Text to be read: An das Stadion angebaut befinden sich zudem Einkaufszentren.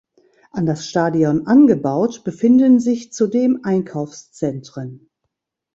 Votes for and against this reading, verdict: 2, 0, accepted